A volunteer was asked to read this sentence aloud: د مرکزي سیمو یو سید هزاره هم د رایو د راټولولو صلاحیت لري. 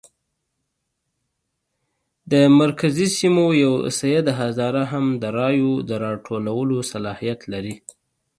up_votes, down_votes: 2, 0